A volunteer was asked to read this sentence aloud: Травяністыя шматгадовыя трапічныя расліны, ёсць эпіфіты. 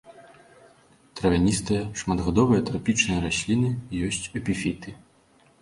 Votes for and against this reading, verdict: 2, 0, accepted